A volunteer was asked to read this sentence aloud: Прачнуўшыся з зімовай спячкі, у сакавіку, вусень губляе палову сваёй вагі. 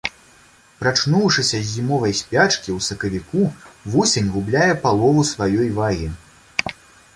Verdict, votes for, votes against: accepted, 2, 0